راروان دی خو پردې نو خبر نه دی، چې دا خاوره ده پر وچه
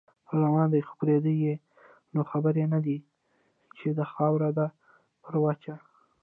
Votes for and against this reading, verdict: 2, 0, accepted